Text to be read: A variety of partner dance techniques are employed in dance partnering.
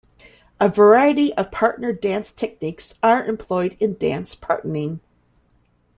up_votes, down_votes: 2, 0